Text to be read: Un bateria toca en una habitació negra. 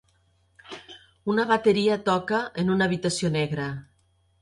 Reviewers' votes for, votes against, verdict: 2, 1, accepted